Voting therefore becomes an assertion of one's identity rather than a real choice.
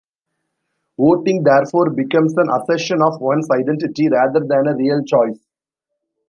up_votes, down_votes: 2, 0